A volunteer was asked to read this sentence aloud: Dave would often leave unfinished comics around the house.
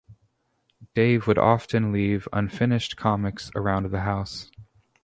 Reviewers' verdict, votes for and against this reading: accepted, 2, 0